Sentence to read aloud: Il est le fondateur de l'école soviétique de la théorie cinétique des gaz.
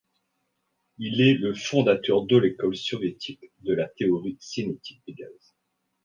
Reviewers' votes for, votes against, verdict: 1, 2, rejected